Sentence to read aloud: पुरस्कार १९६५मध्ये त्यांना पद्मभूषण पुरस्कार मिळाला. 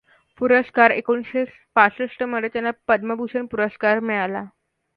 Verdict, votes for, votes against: rejected, 0, 2